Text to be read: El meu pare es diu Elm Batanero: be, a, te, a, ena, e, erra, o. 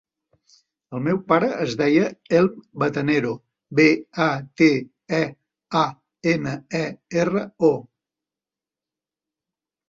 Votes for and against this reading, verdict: 0, 2, rejected